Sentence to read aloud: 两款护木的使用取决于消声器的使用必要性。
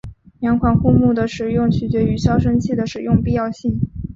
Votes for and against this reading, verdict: 2, 0, accepted